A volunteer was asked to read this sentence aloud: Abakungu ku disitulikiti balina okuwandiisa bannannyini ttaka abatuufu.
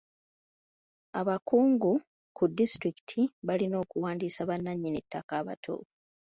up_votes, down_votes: 3, 1